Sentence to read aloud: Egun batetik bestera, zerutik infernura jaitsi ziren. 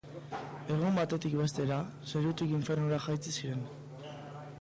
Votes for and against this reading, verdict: 2, 1, accepted